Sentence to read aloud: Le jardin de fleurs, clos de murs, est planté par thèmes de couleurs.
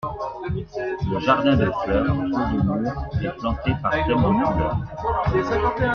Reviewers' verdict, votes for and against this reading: accepted, 2, 1